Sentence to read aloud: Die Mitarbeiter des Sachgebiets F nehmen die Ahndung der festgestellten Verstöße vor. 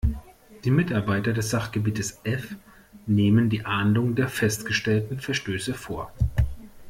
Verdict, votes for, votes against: accepted, 2, 0